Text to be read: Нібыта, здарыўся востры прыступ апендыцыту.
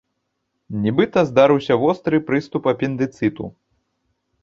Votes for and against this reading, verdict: 2, 0, accepted